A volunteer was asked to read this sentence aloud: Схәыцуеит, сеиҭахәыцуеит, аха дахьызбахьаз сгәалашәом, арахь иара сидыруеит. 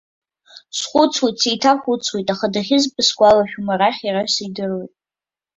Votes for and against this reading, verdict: 0, 2, rejected